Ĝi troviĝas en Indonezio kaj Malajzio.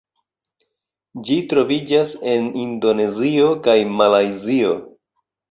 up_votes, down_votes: 1, 2